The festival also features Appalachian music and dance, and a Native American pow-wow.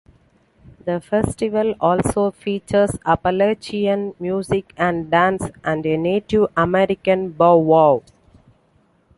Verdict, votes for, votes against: rejected, 0, 2